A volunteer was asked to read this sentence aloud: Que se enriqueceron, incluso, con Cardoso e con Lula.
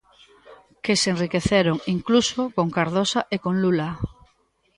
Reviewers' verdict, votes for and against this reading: rejected, 1, 2